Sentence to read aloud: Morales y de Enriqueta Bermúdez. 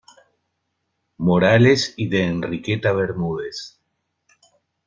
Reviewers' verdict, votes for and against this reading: accepted, 2, 0